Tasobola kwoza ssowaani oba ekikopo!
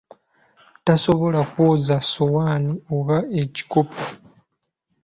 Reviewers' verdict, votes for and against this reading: accepted, 2, 0